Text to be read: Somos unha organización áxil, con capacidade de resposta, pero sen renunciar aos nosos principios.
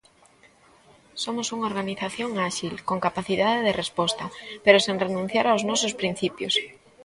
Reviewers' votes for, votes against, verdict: 0, 2, rejected